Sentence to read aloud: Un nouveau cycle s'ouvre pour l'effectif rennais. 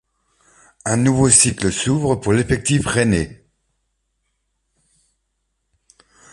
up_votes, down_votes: 2, 1